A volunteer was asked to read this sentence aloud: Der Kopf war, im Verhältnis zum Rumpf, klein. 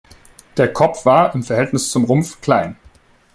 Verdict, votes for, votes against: accepted, 2, 0